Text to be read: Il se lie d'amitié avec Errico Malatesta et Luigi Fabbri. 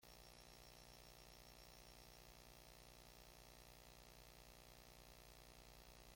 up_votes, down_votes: 1, 2